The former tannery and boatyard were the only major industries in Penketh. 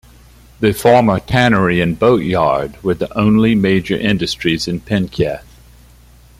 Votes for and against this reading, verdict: 2, 0, accepted